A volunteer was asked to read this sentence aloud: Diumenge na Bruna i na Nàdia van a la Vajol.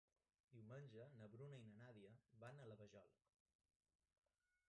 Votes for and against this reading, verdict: 0, 2, rejected